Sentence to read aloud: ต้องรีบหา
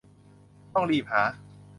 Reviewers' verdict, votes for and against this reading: accepted, 2, 0